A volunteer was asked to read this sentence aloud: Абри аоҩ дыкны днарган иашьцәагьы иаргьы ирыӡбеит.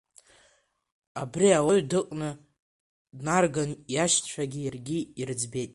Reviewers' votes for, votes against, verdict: 2, 1, accepted